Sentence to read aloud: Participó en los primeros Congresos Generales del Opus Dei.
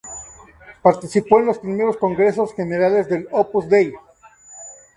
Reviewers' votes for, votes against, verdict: 2, 0, accepted